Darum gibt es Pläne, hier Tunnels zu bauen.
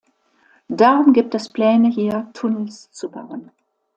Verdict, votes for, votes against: accepted, 2, 0